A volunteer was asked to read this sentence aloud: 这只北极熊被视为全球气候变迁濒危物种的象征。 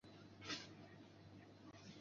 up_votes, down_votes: 0, 4